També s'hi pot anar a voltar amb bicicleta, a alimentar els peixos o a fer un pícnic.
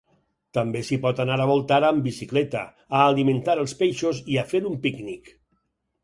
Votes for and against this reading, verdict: 0, 6, rejected